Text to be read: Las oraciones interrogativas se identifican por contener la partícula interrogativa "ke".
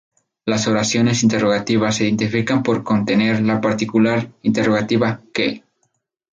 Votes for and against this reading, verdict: 2, 8, rejected